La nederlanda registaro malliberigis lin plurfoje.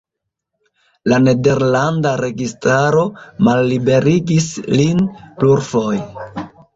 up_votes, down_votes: 1, 2